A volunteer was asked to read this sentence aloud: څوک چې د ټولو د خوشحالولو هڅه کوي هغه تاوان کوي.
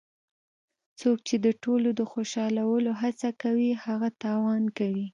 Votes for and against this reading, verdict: 2, 0, accepted